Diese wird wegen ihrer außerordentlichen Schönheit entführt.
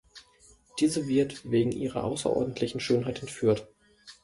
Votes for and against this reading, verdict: 2, 0, accepted